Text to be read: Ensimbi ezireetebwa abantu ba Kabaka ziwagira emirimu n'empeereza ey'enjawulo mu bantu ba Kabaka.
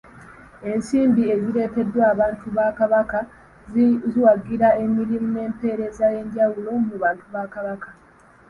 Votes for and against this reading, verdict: 1, 2, rejected